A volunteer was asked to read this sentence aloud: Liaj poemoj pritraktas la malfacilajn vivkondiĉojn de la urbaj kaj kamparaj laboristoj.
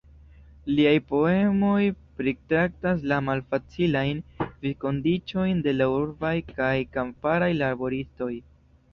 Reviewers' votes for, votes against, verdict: 1, 2, rejected